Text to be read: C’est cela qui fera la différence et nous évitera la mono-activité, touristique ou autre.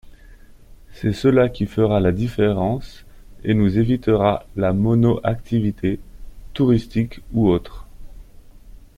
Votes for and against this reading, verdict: 0, 2, rejected